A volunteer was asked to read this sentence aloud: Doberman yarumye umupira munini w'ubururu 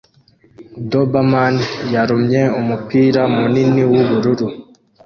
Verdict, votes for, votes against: accepted, 2, 0